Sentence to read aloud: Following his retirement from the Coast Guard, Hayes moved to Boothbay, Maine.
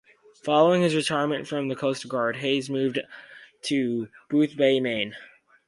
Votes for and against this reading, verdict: 2, 0, accepted